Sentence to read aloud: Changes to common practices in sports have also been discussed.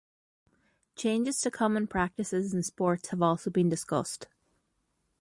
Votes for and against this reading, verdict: 2, 0, accepted